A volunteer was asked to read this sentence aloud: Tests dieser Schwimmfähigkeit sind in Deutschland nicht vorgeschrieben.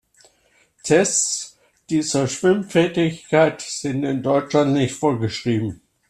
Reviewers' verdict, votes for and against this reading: rejected, 0, 2